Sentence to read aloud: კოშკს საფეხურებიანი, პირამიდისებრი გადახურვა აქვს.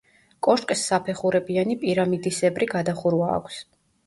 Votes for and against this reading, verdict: 1, 2, rejected